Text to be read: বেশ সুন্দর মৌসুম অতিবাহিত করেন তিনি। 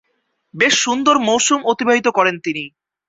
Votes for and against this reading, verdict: 2, 0, accepted